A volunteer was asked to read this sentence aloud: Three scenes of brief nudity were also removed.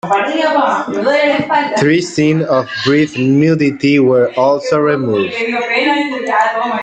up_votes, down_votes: 0, 2